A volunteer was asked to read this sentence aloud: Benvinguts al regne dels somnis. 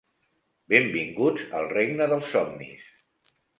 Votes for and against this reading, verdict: 3, 0, accepted